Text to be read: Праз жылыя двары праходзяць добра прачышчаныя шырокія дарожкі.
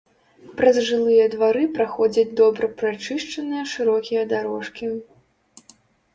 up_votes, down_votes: 3, 0